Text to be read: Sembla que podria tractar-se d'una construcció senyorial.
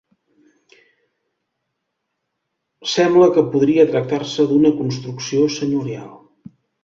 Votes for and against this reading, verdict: 2, 0, accepted